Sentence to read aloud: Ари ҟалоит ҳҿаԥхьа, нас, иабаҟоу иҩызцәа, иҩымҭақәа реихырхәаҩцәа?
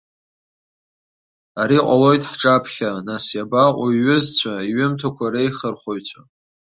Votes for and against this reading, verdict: 2, 0, accepted